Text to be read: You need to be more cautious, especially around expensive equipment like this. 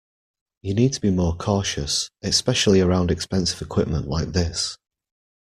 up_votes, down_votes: 2, 0